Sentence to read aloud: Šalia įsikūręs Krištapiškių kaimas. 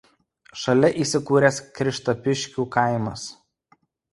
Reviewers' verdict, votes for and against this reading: accepted, 2, 0